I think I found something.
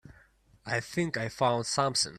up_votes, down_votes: 2, 0